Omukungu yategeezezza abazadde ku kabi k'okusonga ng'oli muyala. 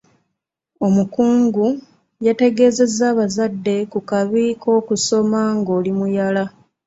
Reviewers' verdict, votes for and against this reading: rejected, 1, 2